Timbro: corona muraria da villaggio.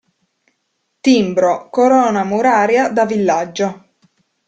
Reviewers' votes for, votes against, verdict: 2, 0, accepted